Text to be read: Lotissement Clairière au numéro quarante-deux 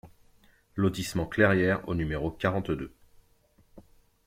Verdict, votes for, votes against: accepted, 2, 0